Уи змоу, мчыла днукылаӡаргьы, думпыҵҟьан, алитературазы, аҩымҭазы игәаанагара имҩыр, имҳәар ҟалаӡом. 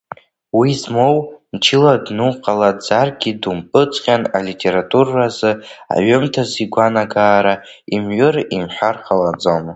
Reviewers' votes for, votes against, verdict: 0, 2, rejected